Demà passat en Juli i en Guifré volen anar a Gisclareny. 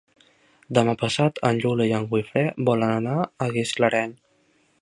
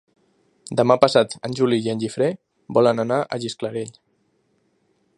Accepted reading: second